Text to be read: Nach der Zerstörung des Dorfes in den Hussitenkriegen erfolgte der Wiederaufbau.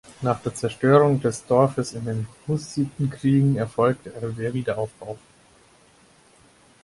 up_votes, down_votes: 2, 4